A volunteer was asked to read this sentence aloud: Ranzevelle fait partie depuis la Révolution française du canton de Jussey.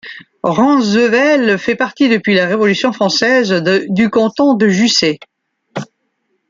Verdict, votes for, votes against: rejected, 0, 2